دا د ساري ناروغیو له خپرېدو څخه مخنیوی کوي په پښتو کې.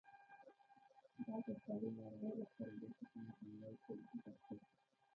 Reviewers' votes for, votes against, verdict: 0, 2, rejected